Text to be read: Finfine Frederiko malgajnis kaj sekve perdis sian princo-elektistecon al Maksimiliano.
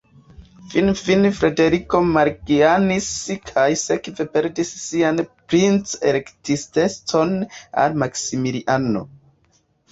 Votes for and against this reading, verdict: 2, 0, accepted